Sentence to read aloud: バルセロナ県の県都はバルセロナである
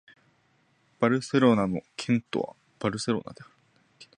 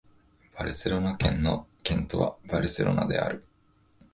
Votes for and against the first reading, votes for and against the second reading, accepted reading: 0, 2, 5, 0, second